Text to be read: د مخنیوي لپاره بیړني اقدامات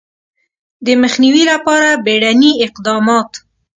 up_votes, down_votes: 3, 0